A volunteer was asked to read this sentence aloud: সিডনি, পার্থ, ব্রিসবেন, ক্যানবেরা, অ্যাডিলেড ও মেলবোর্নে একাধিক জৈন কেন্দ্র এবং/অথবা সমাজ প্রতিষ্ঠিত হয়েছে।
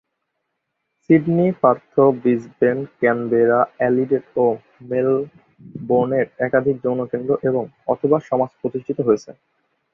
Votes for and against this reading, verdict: 1, 3, rejected